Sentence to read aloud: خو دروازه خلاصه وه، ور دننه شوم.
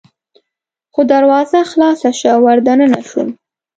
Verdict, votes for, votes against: rejected, 0, 2